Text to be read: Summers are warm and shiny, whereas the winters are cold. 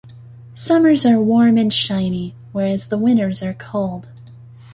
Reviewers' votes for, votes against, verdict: 2, 0, accepted